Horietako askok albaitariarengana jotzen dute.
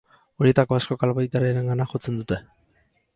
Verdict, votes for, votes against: accepted, 4, 0